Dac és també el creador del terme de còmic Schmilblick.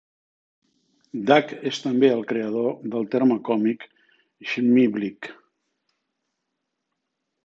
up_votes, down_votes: 0, 2